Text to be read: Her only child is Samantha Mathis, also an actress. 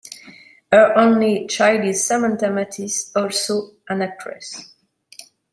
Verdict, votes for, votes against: accepted, 2, 0